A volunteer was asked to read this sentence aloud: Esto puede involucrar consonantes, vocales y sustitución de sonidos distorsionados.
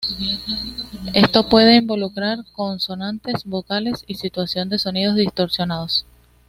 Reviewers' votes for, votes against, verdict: 2, 0, accepted